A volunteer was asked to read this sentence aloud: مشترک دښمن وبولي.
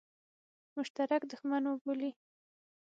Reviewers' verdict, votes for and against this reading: accepted, 6, 0